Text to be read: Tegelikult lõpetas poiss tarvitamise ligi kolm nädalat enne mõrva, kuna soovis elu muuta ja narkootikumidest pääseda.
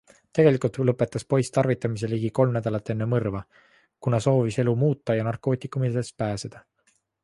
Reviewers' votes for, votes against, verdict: 2, 1, accepted